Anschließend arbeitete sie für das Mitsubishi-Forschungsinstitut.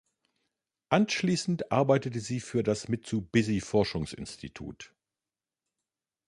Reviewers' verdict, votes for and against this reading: rejected, 0, 2